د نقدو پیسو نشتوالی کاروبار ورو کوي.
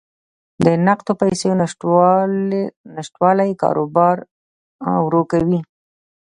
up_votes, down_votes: 0, 2